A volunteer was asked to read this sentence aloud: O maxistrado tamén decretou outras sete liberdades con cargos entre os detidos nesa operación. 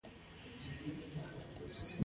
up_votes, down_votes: 0, 2